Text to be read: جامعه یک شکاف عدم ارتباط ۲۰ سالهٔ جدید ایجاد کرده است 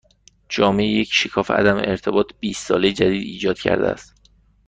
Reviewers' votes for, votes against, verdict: 0, 2, rejected